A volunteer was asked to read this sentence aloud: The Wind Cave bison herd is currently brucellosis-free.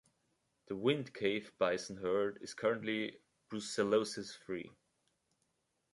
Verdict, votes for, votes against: accepted, 2, 0